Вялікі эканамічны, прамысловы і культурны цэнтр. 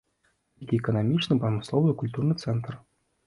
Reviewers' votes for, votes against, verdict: 0, 2, rejected